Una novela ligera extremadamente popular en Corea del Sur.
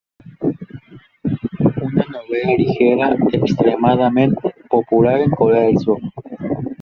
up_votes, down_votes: 1, 2